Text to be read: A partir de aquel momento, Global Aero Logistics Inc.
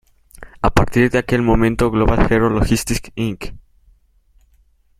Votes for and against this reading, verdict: 2, 0, accepted